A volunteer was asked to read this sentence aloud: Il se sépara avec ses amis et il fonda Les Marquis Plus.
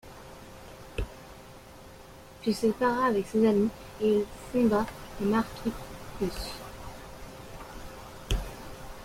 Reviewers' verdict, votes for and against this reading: rejected, 1, 2